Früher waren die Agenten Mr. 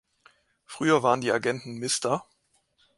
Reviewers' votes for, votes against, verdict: 2, 0, accepted